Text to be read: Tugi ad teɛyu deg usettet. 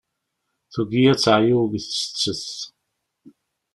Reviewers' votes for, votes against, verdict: 2, 0, accepted